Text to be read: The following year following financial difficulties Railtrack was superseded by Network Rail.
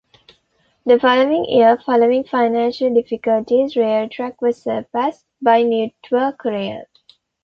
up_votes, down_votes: 1, 2